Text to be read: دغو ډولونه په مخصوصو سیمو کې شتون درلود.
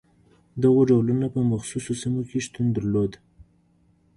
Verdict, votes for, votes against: accepted, 2, 0